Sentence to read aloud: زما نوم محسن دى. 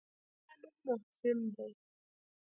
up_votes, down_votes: 0, 2